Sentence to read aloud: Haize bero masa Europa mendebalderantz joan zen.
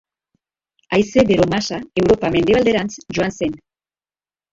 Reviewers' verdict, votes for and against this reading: accepted, 3, 2